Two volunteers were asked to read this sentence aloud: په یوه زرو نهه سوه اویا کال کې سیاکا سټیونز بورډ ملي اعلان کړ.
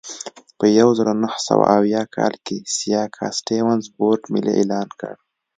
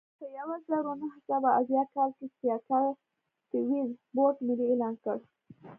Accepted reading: first